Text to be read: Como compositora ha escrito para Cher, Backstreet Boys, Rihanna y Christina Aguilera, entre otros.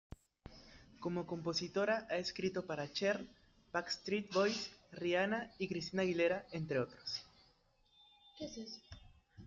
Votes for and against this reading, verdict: 0, 2, rejected